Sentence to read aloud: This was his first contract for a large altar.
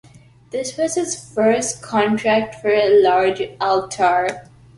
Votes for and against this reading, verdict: 2, 0, accepted